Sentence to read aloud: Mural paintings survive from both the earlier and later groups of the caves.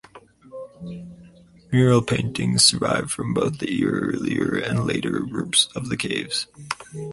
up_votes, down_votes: 4, 0